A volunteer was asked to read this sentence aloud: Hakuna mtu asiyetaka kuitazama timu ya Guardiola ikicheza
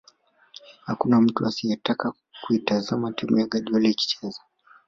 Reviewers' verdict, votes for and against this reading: rejected, 1, 2